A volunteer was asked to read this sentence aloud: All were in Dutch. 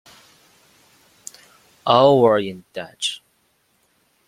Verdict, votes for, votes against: accepted, 2, 0